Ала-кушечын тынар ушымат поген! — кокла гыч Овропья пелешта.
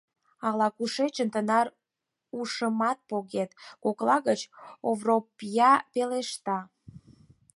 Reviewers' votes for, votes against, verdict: 0, 4, rejected